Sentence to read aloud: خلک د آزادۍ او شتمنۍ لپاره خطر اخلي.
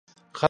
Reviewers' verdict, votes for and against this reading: rejected, 0, 2